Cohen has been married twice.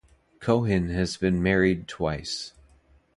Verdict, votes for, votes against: accepted, 2, 0